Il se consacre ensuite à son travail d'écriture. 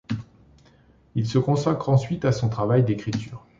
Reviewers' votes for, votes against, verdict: 2, 0, accepted